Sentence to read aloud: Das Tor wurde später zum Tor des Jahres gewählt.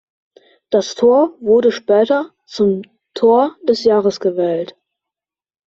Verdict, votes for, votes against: accepted, 2, 0